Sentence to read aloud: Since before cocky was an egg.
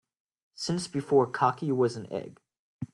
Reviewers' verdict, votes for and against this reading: accepted, 2, 0